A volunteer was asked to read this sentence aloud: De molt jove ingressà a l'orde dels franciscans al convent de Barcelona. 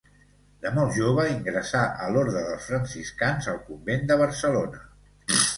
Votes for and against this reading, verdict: 2, 0, accepted